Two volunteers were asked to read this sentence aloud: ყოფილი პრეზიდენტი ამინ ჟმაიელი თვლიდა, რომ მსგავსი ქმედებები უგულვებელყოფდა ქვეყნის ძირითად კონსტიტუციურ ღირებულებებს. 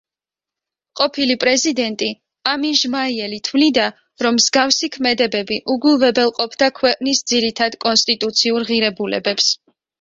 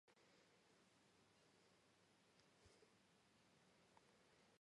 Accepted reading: first